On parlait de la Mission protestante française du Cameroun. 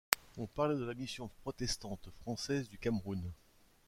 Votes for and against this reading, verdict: 2, 0, accepted